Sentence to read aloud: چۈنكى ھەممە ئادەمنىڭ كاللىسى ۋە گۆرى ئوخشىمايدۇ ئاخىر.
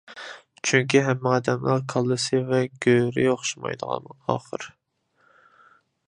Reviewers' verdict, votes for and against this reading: rejected, 1, 2